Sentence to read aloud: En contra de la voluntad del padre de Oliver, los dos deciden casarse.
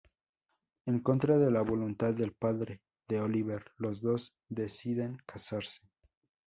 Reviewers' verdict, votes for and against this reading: accepted, 2, 0